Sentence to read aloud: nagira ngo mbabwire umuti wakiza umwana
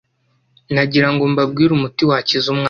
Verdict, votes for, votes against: rejected, 1, 2